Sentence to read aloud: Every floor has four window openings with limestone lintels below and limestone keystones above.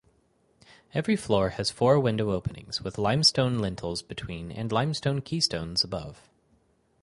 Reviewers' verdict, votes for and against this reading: rejected, 2, 4